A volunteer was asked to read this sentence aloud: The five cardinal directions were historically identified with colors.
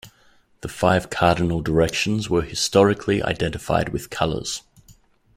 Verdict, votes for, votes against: accepted, 2, 0